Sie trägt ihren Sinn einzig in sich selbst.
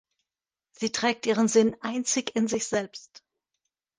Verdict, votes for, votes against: rejected, 1, 2